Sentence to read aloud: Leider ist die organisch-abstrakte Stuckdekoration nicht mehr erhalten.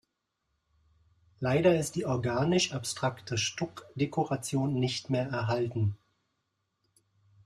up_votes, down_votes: 2, 0